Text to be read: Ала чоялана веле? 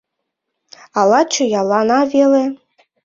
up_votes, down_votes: 2, 1